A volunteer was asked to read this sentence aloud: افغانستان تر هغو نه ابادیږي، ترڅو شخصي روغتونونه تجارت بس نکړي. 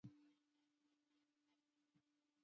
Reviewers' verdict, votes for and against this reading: rejected, 0, 2